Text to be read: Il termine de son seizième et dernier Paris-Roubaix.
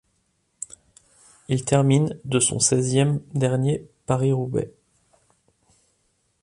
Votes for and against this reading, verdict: 0, 2, rejected